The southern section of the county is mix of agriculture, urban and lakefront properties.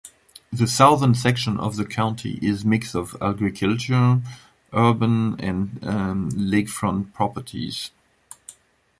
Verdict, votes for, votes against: rejected, 0, 2